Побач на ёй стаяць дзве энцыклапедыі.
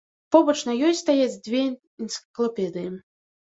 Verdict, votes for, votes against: rejected, 1, 2